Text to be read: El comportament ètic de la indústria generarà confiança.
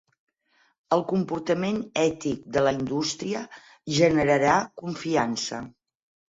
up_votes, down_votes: 8, 0